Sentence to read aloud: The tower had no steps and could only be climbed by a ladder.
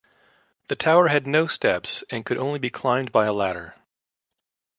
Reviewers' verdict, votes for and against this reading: accepted, 2, 1